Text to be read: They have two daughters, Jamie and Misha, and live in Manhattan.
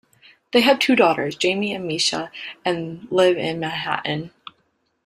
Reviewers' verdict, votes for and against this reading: accepted, 2, 0